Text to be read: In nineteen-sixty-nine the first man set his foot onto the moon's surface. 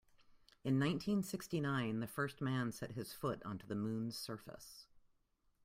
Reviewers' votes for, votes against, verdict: 2, 0, accepted